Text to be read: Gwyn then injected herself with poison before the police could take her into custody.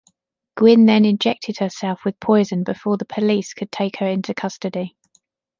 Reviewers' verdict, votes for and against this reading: accepted, 2, 0